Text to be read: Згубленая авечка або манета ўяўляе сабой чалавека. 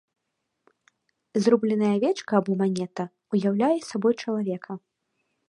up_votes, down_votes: 1, 2